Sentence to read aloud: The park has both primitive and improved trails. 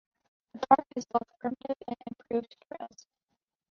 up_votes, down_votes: 0, 2